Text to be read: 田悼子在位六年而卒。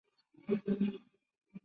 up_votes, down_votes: 1, 4